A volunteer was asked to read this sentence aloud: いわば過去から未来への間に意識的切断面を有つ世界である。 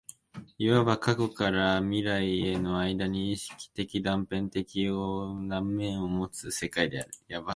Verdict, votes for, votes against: rejected, 0, 2